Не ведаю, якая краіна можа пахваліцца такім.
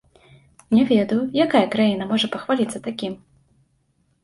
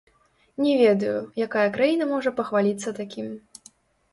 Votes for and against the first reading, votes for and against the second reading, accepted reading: 2, 0, 1, 2, first